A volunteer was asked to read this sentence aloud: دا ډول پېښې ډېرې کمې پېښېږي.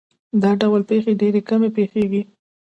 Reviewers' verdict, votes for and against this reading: rejected, 1, 2